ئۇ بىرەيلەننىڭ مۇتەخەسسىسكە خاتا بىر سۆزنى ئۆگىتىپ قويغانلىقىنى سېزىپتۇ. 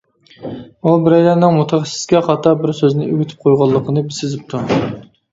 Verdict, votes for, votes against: rejected, 1, 2